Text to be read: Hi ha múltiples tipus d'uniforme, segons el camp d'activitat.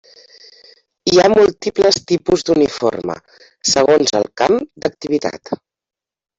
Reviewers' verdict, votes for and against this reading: rejected, 1, 2